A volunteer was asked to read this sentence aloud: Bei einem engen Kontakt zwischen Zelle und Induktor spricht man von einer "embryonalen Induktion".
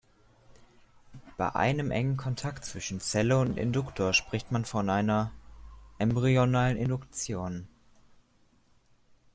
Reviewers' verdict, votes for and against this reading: accepted, 2, 0